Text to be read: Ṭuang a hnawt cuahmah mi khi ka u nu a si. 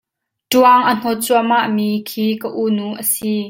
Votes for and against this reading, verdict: 2, 0, accepted